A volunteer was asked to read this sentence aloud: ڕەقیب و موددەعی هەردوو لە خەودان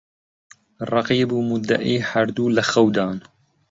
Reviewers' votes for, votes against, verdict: 2, 0, accepted